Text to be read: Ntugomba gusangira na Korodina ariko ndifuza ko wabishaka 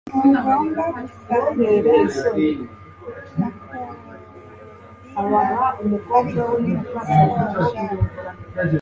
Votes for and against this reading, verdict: 2, 0, accepted